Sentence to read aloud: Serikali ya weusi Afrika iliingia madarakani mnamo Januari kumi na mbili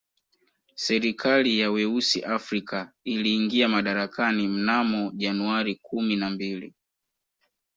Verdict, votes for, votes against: accepted, 2, 0